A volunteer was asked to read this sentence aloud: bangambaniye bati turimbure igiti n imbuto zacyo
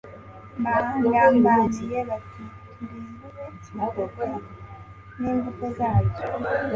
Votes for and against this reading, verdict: 1, 2, rejected